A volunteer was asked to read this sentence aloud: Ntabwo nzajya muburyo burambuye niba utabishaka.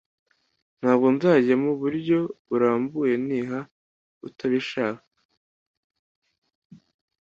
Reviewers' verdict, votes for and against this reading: accepted, 2, 0